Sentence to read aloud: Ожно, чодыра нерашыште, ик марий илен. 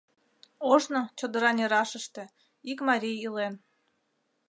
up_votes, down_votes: 2, 0